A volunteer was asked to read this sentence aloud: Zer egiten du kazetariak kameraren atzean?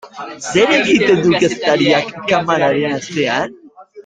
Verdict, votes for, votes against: rejected, 0, 2